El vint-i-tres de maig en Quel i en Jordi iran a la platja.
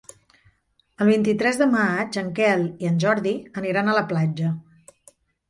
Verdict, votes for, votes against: rejected, 1, 2